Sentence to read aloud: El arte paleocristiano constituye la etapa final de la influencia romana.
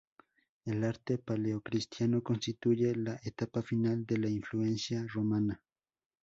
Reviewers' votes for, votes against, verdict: 0, 2, rejected